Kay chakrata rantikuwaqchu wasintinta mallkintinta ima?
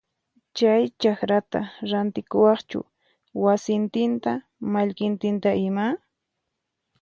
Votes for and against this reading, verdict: 0, 4, rejected